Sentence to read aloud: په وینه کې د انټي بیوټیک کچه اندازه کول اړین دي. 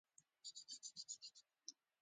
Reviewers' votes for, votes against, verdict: 1, 2, rejected